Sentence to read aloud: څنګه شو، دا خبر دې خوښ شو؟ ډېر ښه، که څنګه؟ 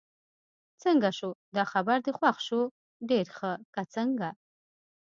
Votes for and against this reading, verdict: 2, 0, accepted